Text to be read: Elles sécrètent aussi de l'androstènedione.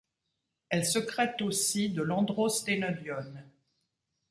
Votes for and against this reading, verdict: 0, 2, rejected